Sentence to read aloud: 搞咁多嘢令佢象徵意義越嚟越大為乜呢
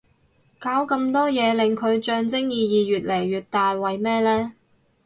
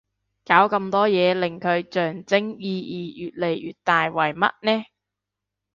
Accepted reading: second